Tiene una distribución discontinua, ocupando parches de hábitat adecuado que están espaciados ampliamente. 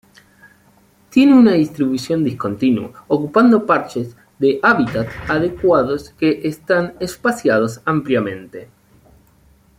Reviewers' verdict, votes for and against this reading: rejected, 1, 2